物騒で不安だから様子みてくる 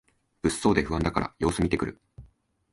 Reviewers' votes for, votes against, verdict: 3, 0, accepted